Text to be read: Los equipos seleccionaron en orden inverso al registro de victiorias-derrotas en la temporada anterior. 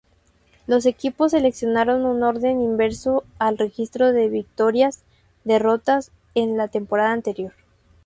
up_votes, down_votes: 4, 0